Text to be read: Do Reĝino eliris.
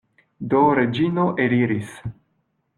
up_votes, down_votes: 2, 0